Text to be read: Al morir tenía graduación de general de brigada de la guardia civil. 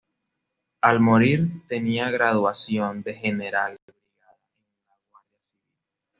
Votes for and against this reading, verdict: 1, 2, rejected